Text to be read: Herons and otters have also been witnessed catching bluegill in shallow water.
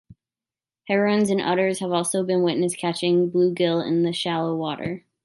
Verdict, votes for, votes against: accepted, 2, 0